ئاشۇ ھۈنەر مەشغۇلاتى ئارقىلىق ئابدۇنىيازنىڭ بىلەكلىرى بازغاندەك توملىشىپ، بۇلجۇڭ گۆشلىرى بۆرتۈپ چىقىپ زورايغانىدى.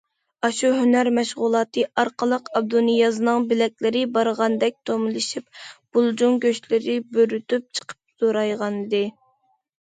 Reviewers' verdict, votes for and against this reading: rejected, 0, 2